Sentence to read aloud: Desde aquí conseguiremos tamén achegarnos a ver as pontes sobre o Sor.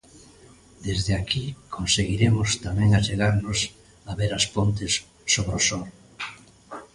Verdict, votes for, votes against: accepted, 3, 0